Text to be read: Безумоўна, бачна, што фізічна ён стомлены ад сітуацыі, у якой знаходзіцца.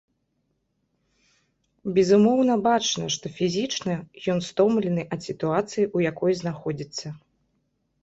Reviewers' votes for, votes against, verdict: 2, 0, accepted